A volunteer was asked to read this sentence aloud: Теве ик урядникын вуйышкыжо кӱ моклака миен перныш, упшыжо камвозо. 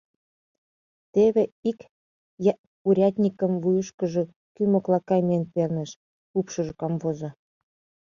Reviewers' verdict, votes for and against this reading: rejected, 0, 2